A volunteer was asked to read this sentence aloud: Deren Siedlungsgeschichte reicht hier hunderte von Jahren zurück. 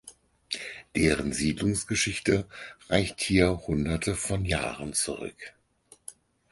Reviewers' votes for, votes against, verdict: 4, 0, accepted